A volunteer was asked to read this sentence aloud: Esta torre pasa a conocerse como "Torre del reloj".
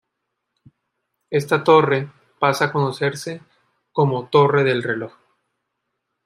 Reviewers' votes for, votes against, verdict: 2, 0, accepted